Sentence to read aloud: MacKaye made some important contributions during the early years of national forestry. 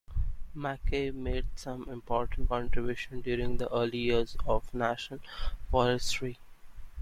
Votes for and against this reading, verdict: 2, 1, accepted